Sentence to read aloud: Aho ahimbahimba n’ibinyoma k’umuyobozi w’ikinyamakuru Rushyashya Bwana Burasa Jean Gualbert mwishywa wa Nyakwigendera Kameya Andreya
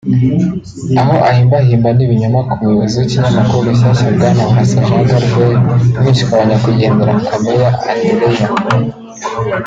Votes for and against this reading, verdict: 1, 2, rejected